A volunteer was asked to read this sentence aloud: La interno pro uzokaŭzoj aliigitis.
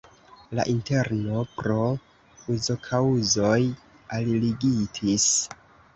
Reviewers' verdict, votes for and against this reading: accepted, 2, 0